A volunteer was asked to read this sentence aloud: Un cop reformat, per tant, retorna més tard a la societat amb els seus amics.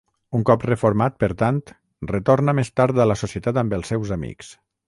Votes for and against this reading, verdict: 3, 3, rejected